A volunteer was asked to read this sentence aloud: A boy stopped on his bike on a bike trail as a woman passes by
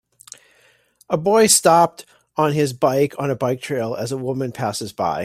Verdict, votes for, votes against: accepted, 2, 0